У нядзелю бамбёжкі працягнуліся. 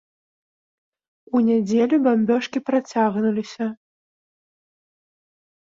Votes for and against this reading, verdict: 0, 2, rejected